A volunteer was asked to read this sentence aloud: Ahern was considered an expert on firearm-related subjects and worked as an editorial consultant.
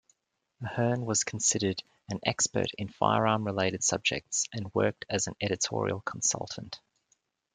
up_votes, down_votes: 1, 2